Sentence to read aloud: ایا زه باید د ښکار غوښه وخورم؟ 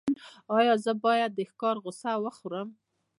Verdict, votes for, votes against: accepted, 2, 0